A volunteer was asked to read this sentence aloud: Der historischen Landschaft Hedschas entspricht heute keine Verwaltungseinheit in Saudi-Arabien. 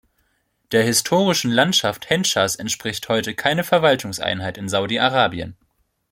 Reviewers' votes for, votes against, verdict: 0, 2, rejected